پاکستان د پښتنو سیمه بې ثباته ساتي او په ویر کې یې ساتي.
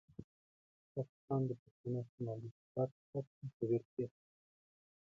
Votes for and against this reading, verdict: 1, 2, rejected